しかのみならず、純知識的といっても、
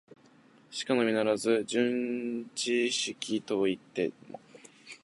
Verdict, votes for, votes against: rejected, 0, 2